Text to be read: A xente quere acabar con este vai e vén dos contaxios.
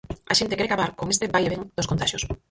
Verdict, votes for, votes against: rejected, 2, 4